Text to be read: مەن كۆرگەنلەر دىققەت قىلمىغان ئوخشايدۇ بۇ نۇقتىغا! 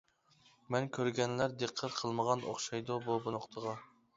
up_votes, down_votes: 1, 2